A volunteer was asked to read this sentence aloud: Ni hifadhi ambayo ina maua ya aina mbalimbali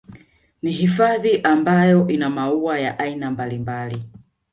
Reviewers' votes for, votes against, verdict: 2, 0, accepted